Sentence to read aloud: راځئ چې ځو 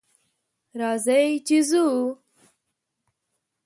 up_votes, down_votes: 2, 0